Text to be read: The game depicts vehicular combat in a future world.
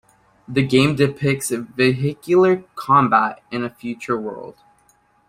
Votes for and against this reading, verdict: 1, 2, rejected